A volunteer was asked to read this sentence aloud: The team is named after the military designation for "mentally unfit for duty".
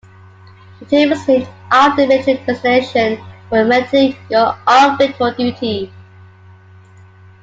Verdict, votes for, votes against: rejected, 0, 2